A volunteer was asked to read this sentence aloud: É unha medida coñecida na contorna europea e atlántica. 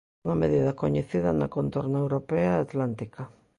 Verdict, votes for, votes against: rejected, 0, 2